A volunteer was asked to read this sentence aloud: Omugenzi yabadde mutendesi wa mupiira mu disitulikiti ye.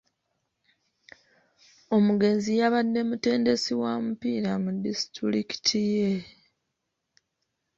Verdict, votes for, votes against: accepted, 2, 0